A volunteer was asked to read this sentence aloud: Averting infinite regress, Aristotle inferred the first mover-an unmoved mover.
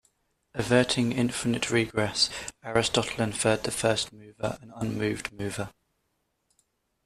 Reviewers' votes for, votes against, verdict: 0, 2, rejected